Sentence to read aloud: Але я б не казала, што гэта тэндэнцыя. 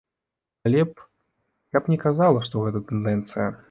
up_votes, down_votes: 0, 2